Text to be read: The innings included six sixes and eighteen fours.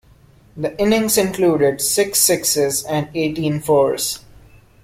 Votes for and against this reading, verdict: 2, 0, accepted